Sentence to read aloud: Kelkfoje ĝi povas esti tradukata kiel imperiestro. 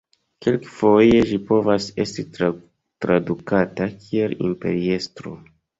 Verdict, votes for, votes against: rejected, 0, 2